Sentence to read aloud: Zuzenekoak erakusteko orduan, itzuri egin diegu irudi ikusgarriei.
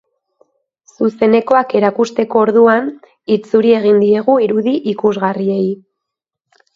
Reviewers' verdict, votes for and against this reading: accepted, 2, 0